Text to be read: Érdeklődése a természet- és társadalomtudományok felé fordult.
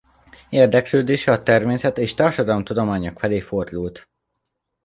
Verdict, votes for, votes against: accepted, 2, 0